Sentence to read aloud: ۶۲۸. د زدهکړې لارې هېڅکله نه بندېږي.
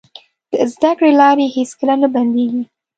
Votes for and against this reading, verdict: 0, 2, rejected